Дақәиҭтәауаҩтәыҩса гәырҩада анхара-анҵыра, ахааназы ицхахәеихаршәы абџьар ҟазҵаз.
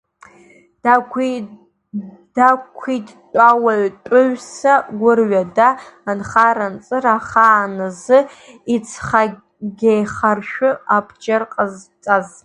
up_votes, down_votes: 0, 2